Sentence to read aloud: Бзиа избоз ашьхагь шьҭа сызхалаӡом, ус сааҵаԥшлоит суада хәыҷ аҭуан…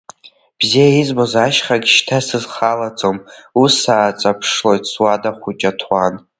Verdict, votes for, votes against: rejected, 0, 2